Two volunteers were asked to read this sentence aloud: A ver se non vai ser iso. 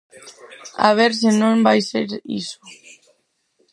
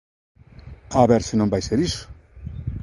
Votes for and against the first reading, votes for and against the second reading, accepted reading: 2, 4, 2, 0, second